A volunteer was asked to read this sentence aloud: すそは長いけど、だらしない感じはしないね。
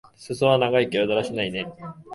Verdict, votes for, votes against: rejected, 0, 2